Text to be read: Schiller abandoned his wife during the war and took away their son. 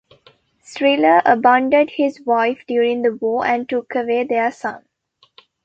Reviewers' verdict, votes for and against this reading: rejected, 1, 2